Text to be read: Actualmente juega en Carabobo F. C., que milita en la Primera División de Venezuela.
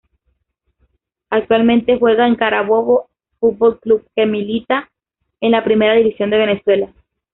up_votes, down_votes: 1, 2